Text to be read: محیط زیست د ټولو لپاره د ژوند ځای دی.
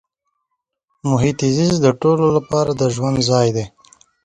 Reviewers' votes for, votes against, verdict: 1, 2, rejected